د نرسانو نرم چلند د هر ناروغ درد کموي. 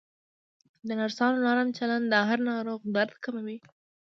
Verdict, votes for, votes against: accepted, 2, 0